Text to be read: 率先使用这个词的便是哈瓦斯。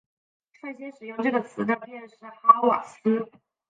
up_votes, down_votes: 3, 1